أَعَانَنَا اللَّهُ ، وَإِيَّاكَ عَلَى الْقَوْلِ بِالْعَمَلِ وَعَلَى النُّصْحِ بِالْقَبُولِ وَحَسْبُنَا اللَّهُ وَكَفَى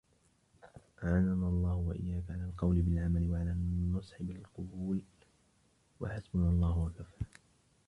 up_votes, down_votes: 1, 2